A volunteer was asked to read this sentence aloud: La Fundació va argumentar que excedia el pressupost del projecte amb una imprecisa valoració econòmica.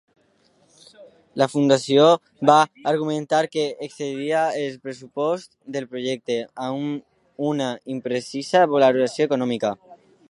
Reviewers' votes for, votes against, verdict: 0, 2, rejected